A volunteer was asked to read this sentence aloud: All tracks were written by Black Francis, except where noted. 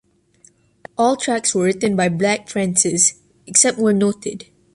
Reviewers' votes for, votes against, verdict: 2, 0, accepted